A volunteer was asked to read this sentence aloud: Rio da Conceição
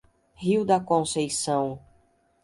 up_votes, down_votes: 2, 0